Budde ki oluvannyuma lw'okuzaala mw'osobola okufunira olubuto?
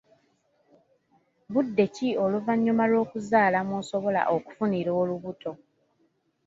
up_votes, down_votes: 2, 0